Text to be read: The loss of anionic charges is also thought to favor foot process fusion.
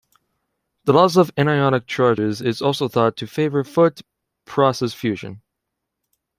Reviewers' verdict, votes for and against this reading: accepted, 2, 0